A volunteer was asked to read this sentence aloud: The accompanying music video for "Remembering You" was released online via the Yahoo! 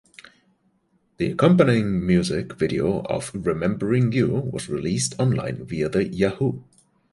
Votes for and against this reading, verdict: 1, 2, rejected